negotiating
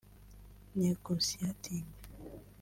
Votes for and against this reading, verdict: 2, 3, rejected